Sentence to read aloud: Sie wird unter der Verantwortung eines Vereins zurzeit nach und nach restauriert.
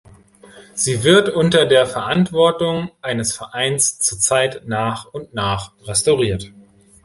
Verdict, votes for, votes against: accepted, 2, 0